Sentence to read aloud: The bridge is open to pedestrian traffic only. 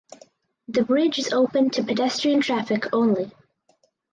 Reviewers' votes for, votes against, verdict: 4, 0, accepted